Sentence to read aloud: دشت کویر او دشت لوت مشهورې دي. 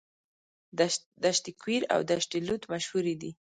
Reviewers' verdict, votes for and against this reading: rejected, 1, 2